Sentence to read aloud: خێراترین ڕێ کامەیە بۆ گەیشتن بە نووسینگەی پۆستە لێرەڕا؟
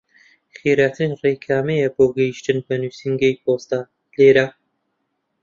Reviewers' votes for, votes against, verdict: 0, 2, rejected